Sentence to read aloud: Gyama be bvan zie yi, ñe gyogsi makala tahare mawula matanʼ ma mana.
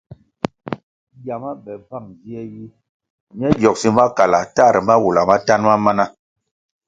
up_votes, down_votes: 1, 2